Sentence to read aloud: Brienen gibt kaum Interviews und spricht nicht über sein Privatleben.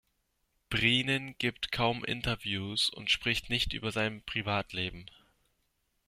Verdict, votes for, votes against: accepted, 2, 0